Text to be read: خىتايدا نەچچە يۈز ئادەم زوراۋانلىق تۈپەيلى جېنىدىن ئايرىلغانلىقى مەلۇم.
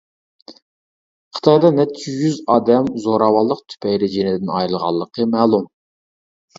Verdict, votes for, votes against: rejected, 1, 2